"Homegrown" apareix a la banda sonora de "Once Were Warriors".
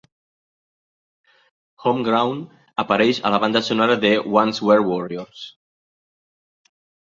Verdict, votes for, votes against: accepted, 2, 0